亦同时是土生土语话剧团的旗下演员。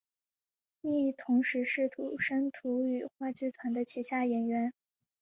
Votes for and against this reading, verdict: 4, 0, accepted